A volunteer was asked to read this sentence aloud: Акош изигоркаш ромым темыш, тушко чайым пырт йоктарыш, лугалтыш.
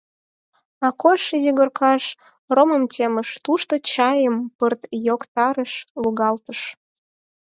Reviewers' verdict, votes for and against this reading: accepted, 4, 2